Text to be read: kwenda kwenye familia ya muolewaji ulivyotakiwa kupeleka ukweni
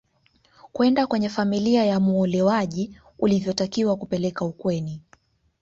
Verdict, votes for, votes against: accepted, 2, 0